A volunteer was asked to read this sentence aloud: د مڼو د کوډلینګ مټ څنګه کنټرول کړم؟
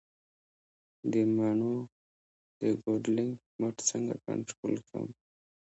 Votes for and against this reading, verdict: 2, 0, accepted